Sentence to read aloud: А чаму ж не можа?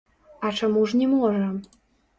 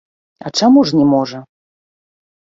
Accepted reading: second